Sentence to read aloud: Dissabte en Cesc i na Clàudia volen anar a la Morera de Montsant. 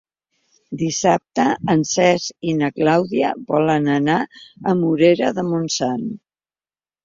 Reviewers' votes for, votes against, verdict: 1, 2, rejected